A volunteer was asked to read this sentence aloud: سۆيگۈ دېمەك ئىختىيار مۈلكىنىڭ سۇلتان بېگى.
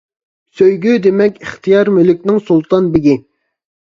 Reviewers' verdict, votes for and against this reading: rejected, 1, 2